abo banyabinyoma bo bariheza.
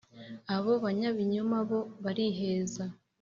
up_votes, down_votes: 3, 0